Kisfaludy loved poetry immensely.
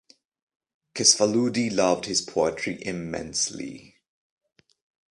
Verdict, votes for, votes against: rejected, 1, 2